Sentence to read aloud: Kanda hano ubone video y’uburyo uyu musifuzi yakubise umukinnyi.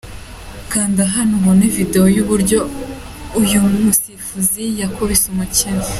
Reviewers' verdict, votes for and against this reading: accepted, 2, 0